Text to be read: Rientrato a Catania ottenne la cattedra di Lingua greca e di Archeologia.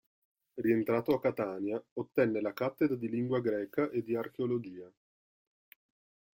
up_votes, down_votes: 1, 2